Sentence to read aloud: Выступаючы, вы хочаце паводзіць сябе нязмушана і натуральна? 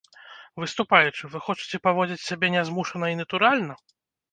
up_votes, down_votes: 2, 0